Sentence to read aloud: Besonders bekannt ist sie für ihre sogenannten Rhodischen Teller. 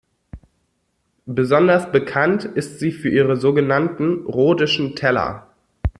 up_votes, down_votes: 3, 0